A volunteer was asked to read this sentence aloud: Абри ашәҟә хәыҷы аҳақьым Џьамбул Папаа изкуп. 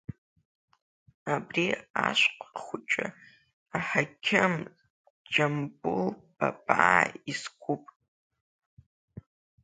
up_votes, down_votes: 0, 2